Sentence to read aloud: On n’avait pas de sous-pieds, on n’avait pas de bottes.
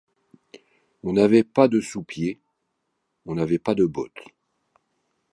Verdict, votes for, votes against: accepted, 2, 0